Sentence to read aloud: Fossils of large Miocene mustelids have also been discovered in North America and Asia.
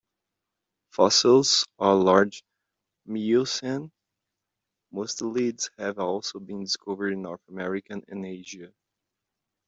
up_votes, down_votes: 1, 2